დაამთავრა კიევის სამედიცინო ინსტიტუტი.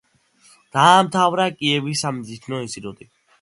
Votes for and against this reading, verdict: 2, 0, accepted